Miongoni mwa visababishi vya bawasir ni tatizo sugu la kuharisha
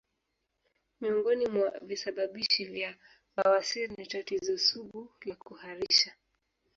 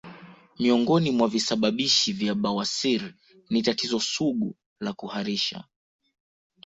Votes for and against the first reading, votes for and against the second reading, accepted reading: 0, 2, 2, 0, second